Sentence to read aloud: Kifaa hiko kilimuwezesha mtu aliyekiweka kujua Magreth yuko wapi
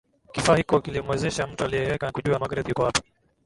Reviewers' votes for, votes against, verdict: 9, 2, accepted